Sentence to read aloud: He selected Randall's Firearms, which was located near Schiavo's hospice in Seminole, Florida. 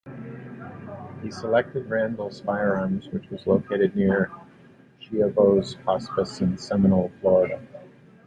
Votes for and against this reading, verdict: 2, 0, accepted